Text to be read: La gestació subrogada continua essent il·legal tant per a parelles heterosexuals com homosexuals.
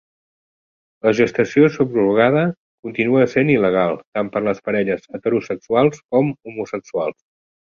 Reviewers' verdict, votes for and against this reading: accepted, 2, 1